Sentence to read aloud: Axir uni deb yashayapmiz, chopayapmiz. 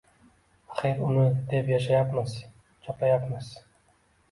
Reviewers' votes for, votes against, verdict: 2, 1, accepted